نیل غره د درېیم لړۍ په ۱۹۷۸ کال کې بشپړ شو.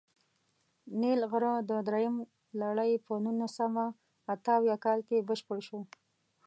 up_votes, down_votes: 0, 2